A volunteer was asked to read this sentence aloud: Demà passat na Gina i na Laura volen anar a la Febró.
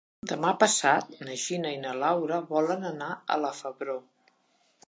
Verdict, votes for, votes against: accepted, 2, 0